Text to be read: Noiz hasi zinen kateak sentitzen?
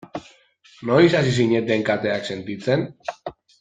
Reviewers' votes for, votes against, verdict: 1, 2, rejected